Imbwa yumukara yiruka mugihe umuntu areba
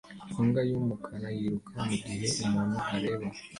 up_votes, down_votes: 2, 0